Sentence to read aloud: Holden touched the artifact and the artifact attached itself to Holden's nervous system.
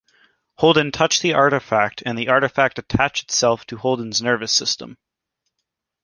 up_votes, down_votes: 2, 0